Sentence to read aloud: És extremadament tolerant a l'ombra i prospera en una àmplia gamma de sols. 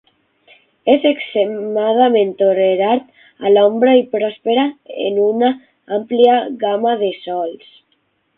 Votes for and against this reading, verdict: 0, 6, rejected